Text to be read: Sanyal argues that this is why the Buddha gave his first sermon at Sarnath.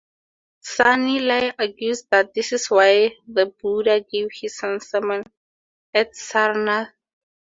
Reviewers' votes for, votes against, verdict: 2, 2, rejected